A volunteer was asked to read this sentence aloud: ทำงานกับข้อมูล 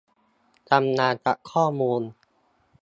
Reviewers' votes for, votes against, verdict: 1, 2, rejected